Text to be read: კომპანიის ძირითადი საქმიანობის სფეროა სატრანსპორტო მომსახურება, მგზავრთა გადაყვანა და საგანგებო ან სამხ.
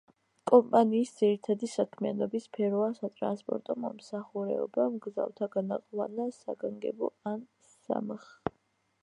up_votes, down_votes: 1, 2